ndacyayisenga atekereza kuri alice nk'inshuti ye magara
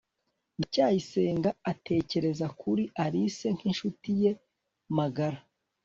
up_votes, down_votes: 2, 0